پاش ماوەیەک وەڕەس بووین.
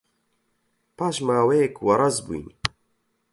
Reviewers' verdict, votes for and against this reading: rejected, 4, 4